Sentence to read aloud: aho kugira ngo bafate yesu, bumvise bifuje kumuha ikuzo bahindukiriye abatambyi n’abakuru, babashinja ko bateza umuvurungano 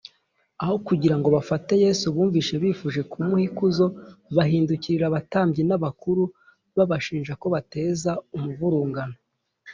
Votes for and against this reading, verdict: 2, 0, accepted